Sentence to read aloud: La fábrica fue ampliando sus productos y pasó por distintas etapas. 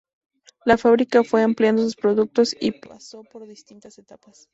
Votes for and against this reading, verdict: 0, 2, rejected